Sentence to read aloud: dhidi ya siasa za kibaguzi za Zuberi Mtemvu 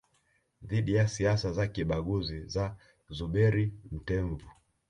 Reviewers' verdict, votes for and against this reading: rejected, 0, 2